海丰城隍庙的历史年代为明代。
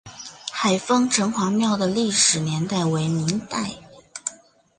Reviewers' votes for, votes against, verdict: 3, 0, accepted